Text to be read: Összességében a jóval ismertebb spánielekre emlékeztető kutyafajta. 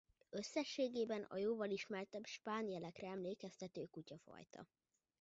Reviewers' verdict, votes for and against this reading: rejected, 1, 2